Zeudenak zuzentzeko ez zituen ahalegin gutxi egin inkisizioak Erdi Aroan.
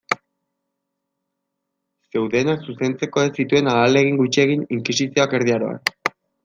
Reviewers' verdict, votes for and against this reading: accepted, 2, 0